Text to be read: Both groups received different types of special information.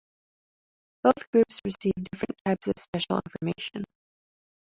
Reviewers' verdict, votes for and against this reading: rejected, 1, 2